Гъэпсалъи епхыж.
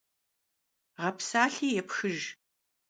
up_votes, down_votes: 2, 0